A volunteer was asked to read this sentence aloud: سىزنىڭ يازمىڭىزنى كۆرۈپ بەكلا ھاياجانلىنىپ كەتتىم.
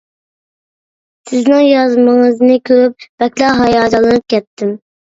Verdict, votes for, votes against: accepted, 2, 0